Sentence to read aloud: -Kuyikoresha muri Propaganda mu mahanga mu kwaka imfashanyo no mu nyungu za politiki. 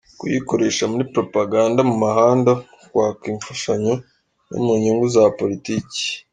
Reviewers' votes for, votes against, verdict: 2, 0, accepted